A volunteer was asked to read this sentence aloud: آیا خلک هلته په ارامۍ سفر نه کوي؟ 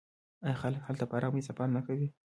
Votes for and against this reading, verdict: 1, 2, rejected